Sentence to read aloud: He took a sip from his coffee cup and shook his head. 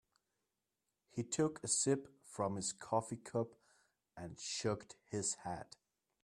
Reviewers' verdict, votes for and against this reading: rejected, 0, 2